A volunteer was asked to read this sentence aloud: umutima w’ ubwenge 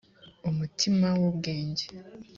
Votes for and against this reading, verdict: 2, 0, accepted